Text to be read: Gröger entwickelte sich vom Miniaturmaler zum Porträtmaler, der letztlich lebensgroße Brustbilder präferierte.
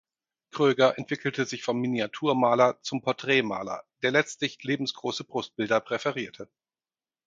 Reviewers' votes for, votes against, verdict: 4, 0, accepted